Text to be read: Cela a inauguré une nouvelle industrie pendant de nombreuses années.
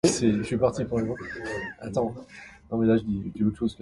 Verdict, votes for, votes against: rejected, 0, 2